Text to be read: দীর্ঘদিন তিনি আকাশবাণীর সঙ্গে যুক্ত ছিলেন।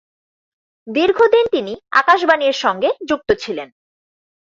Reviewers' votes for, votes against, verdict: 0, 4, rejected